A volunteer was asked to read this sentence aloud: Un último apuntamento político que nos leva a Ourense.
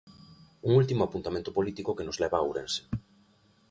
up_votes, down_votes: 0, 2